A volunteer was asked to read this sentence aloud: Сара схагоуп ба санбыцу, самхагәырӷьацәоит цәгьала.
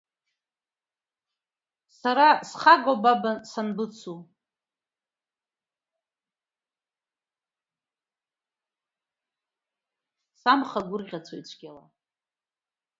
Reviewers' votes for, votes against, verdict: 0, 2, rejected